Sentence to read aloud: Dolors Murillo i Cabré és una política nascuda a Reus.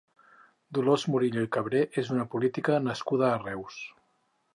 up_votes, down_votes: 2, 0